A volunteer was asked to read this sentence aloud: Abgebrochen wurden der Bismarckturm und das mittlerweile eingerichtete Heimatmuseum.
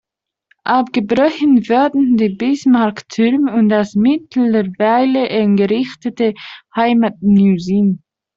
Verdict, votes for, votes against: rejected, 1, 2